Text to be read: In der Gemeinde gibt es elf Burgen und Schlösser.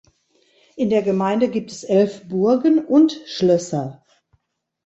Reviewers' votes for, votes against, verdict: 2, 0, accepted